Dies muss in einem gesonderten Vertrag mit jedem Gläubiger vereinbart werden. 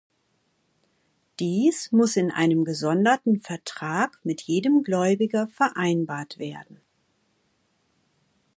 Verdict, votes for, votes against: accepted, 2, 0